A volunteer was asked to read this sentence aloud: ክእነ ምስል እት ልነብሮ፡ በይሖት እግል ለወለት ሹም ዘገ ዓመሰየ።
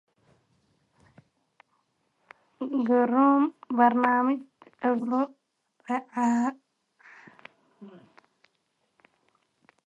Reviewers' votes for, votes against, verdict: 1, 2, rejected